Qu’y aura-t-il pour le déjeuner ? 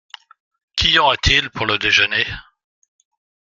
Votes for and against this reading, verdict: 2, 0, accepted